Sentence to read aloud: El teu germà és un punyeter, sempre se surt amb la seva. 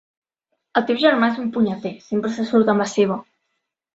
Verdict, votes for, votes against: accepted, 2, 0